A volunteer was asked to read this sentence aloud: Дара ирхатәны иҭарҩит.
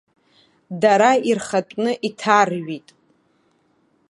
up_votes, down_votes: 1, 2